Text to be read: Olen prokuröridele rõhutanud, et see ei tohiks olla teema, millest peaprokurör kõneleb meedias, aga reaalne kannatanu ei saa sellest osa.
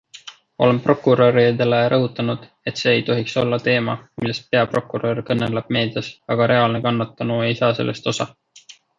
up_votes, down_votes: 2, 0